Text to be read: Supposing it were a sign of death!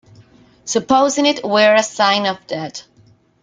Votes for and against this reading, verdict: 0, 2, rejected